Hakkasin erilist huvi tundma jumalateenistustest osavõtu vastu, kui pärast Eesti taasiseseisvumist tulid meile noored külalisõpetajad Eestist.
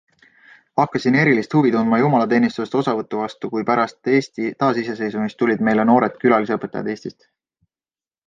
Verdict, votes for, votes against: accepted, 2, 0